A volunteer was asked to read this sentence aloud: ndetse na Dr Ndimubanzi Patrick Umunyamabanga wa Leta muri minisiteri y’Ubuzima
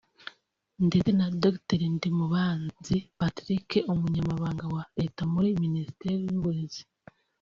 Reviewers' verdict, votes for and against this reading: rejected, 0, 2